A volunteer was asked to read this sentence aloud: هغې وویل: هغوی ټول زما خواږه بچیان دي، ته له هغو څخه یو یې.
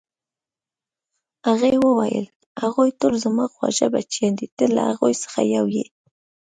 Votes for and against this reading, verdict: 2, 0, accepted